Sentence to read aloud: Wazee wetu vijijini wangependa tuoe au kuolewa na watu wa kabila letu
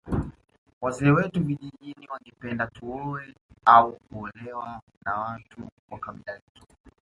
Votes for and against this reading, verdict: 2, 0, accepted